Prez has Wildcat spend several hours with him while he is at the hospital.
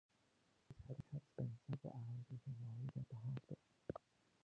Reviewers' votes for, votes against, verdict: 0, 2, rejected